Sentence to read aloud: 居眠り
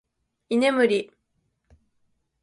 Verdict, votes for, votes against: accepted, 3, 0